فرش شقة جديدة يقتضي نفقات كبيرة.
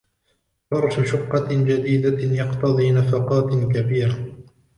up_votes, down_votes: 1, 2